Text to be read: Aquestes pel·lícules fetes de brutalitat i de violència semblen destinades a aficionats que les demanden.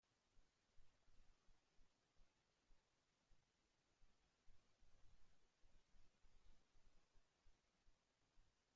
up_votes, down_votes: 0, 2